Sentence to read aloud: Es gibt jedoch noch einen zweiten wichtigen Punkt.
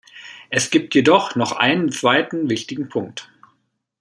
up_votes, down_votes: 2, 0